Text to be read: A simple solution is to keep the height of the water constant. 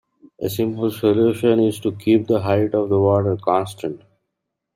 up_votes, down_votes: 2, 0